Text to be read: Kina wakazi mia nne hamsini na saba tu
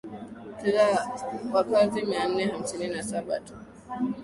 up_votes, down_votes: 4, 0